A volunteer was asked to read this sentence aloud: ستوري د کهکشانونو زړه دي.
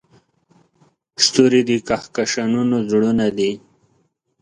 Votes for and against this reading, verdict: 1, 2, rejected